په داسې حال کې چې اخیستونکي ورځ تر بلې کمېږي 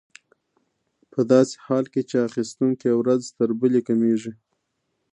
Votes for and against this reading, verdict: 2, 0, accepted